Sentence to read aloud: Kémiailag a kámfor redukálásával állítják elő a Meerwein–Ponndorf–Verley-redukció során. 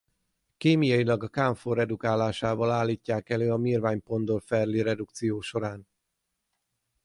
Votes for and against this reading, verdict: 6, 0, accepted